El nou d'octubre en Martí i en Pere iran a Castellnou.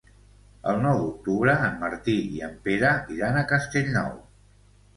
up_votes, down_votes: 2, 0